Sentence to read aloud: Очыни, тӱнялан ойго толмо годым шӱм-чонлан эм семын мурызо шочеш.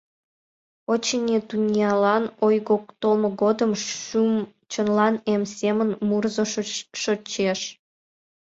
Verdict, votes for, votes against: rejected, 0, 2